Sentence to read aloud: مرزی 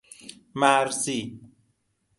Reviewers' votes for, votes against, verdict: 2, 0, accepted